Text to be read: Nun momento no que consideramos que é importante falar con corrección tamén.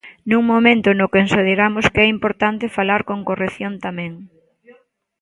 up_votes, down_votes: 0, 2